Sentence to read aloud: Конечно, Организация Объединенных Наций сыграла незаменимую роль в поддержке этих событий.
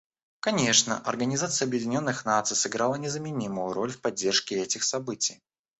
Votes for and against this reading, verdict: 1, 2, rejected